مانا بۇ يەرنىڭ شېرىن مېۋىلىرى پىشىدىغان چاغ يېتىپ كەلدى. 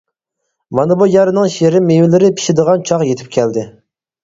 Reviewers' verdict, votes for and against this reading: accepted, 4, 0